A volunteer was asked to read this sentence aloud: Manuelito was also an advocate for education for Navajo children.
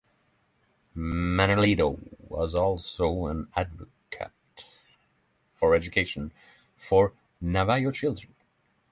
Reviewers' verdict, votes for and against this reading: accepted, 3, 0